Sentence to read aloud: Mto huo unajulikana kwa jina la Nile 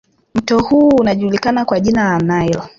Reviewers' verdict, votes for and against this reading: rejected, 1, 2